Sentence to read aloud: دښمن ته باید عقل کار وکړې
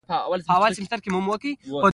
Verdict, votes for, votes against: rejected, 1, 2